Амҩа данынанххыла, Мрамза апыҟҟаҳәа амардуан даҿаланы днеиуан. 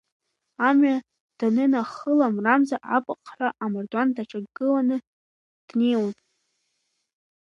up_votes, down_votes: 0, 2